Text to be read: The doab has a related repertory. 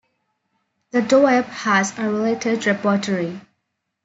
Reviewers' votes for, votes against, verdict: 1, 2, rejected